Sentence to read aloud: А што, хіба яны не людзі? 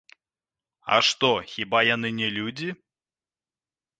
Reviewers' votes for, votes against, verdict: 2, 0, accepted